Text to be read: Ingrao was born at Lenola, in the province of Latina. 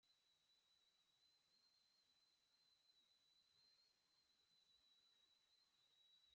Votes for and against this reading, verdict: 0, 2, rejected